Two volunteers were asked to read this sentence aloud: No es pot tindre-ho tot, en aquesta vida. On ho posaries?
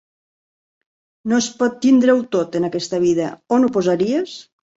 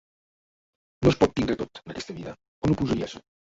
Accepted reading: first